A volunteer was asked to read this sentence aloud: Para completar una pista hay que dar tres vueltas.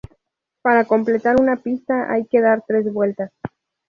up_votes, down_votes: 2, 0